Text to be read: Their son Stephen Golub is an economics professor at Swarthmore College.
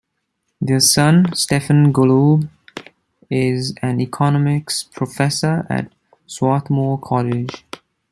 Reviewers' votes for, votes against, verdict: 1, 2, rejected